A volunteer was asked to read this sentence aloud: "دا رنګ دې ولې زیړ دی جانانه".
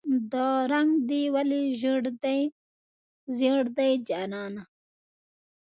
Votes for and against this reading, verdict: 1, 2, rejected